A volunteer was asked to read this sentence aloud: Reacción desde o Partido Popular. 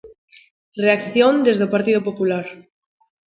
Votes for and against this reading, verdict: 2, 0, accepted